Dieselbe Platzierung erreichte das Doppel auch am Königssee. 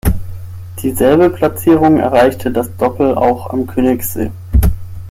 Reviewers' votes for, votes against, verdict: 6, 0, accepted